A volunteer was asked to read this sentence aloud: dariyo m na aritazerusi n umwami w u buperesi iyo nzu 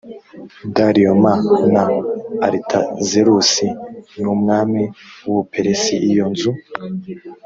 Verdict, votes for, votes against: accepted, 2, 0